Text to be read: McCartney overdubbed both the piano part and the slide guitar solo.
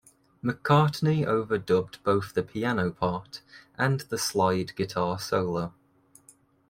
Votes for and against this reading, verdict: 2, 0, accepted